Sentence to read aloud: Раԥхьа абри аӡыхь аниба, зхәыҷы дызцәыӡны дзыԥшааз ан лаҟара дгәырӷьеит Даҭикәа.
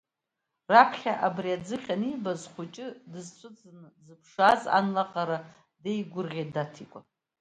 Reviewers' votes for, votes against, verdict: 1, 2, rejected